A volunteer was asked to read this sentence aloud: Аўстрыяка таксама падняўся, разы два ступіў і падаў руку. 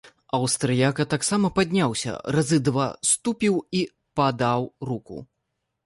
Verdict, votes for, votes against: rejected, 0, 2